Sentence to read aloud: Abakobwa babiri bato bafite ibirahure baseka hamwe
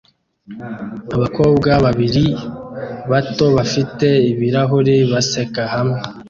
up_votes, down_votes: 2, 0